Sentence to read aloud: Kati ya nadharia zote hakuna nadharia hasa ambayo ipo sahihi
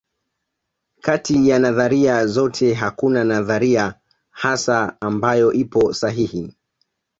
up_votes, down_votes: 2, 0